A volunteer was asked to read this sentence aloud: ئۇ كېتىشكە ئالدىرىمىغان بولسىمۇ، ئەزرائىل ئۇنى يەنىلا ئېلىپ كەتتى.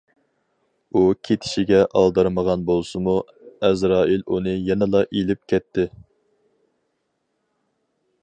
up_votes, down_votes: 2, 2